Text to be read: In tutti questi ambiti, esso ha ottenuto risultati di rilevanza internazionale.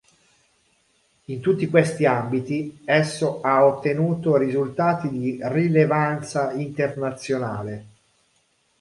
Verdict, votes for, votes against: accepted, 2, 0